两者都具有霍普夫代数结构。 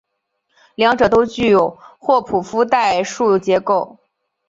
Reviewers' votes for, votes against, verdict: 2, 0, accepted